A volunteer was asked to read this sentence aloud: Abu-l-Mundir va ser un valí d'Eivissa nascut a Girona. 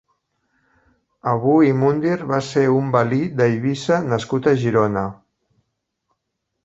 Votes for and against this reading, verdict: 4, 0, accepted